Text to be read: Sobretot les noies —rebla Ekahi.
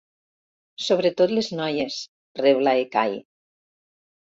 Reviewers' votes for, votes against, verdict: 3, 0, accepted